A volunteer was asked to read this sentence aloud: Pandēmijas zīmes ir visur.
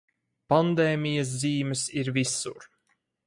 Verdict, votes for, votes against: accepted, 4, 0